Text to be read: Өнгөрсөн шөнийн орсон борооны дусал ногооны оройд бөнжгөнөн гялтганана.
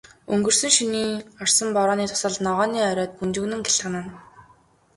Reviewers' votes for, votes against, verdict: 1, 2, rejected